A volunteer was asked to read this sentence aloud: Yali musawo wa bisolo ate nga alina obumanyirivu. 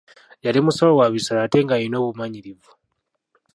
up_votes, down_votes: 0, 2